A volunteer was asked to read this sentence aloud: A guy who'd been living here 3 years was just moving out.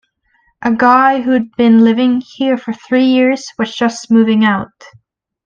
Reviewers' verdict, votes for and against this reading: rejected, 0, 2